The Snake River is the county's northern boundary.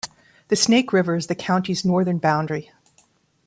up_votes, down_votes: 2, 0